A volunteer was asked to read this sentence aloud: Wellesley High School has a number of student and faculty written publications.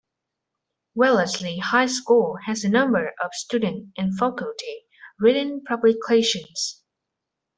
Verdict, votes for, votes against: rejected, 1, 2